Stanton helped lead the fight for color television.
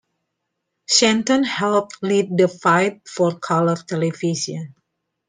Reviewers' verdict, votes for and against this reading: accepted, 2, 1